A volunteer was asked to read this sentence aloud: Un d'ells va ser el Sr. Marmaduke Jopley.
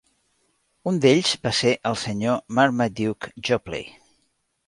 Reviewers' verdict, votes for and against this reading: accepted, 2, 0